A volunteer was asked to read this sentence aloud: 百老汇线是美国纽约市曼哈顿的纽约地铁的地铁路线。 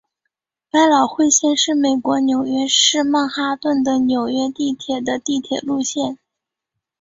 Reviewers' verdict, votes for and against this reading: accepted, 4, 1